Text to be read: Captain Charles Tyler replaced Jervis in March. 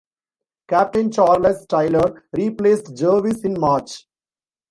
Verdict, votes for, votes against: rejected, 1, 2